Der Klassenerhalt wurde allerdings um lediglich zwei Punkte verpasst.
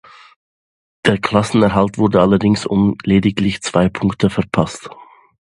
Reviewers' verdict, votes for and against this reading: accepted, 2, 0